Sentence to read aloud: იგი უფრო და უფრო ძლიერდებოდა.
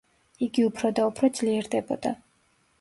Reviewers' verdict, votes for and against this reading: rejected, 1, 2